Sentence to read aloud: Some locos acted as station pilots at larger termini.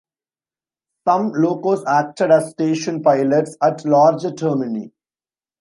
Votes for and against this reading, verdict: 1, 2, rejected